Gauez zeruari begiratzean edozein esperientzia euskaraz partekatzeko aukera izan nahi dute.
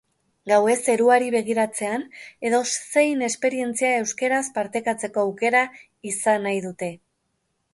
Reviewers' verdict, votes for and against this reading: rejected, 1, 2